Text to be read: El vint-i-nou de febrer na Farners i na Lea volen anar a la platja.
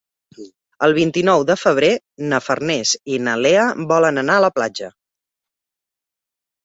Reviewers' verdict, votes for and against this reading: accepted, 3, 0